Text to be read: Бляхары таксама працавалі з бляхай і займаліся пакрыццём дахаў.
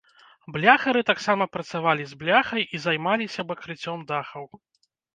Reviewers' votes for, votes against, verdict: 0, 2, rejected